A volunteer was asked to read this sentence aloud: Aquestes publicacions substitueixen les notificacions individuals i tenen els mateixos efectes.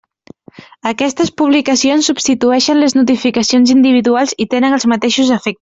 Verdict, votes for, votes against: rejected, 1, 2